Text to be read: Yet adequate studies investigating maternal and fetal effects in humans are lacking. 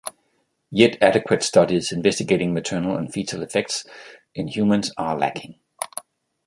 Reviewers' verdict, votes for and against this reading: accepted, 2, 0